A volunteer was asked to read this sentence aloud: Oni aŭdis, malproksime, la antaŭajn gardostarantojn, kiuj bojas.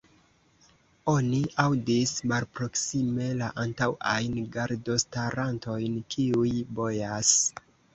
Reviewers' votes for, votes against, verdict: 1, 2, rejected